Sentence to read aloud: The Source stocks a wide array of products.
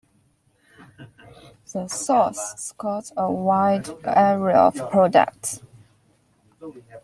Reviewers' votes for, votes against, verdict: 1, 2, rejected